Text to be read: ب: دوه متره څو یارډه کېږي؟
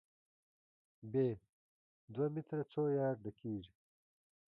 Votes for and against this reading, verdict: 3, 0, accepted